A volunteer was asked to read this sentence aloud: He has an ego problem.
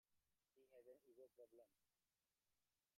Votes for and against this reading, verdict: 0, 2, rejected